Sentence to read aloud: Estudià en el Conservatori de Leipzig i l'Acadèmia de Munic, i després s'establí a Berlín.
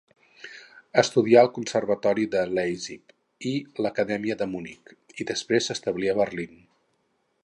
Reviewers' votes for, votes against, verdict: 0, 2, rejected